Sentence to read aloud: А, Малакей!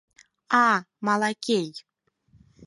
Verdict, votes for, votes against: accepted, 4, 0